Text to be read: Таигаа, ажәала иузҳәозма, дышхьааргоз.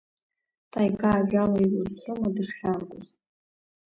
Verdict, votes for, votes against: accepted, 2, 1